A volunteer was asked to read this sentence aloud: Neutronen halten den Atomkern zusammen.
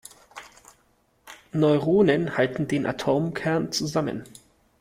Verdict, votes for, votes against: rejected, 0, 2